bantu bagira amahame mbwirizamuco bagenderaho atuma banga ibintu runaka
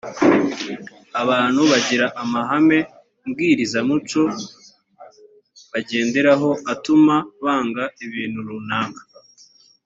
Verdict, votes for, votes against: rejected, 0, 2